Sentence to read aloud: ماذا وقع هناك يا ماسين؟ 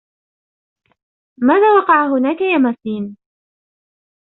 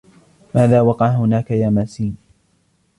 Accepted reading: first